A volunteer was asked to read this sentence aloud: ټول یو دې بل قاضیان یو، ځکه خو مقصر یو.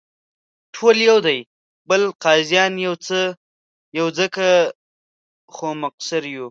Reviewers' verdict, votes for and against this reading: rejected, 1, 2